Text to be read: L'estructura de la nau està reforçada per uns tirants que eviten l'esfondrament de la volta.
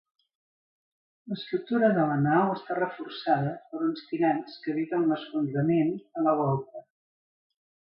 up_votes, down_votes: 2, 0